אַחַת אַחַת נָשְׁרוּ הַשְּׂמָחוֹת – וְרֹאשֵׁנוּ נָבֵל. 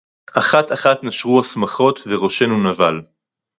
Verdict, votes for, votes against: rejected, 2, 2